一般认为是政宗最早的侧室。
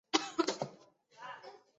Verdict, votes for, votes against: rejected, 0, 2